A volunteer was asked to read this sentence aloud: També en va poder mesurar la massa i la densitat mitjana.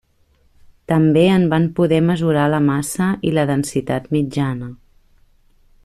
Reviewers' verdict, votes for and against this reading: rejected, 1, 2